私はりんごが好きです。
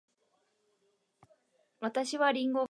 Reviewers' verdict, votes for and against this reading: rejected, 0, 2